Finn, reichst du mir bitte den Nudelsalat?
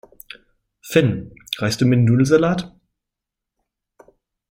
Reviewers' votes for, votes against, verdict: 1, 5, rejected